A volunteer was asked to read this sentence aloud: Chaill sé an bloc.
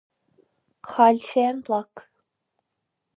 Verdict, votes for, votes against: rejected, 2, 2